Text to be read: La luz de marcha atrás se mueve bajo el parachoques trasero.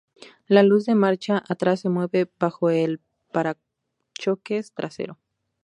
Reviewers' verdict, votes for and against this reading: accepted, 2, 0